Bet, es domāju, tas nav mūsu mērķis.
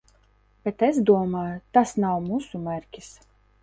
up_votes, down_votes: 1, 2